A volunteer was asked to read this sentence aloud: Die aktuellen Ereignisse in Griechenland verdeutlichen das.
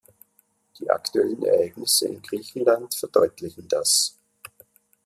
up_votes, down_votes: 2, 0